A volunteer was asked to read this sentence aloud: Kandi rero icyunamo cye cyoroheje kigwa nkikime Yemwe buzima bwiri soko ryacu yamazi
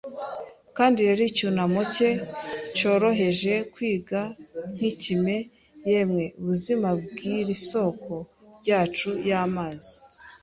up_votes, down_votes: 1, 2